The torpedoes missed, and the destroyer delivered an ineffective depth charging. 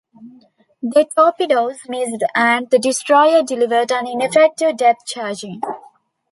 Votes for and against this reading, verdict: 2, 0, accepted